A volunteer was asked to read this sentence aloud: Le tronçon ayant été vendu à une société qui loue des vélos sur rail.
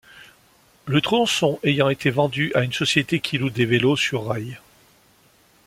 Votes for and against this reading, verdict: 2, 0, accepted